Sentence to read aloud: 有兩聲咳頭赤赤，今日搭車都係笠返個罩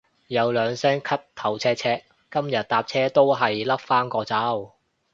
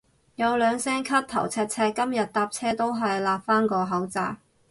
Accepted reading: first